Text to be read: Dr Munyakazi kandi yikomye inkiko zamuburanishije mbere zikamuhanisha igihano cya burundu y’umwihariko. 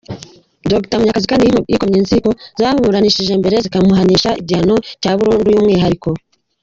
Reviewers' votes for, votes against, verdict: 0, 2, rejected